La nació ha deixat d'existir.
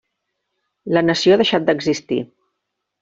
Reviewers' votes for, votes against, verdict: 3, 0, accepted